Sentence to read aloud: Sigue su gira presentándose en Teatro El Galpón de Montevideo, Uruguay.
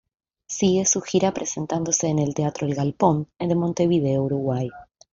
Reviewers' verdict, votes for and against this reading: rejected, 0, 2